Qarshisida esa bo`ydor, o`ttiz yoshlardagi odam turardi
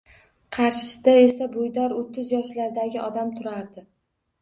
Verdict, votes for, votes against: accepted, 2, 0